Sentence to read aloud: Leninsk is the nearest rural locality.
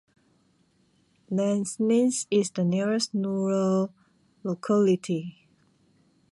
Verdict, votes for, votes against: rejected, 0, 2